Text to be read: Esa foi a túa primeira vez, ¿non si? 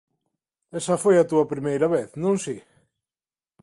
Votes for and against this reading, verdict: 2, 0, accepted